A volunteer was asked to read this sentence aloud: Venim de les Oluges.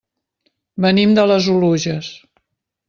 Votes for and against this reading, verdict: 3, 0, accepted